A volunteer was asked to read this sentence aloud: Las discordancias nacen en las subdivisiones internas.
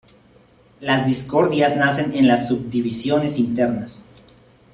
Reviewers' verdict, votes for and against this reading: rejected, 0, 3